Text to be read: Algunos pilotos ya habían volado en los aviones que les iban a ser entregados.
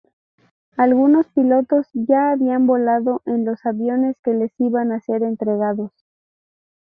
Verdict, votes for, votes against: accepted, 2, 0